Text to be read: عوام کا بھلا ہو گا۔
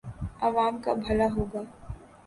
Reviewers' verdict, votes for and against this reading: accepted, 6, 0